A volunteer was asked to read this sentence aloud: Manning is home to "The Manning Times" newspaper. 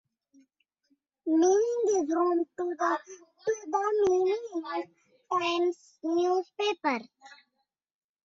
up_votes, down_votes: 0, 2